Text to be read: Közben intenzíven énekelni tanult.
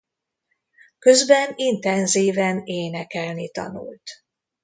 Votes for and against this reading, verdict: 2, 0, accepted